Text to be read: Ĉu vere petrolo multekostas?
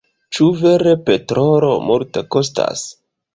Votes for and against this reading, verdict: 0, 2, rejected